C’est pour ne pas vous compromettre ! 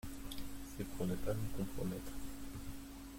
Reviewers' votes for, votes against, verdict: 1, 2, rejected